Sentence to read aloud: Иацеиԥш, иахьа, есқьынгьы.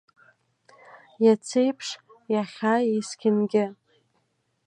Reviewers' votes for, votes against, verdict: 2, 0, accepted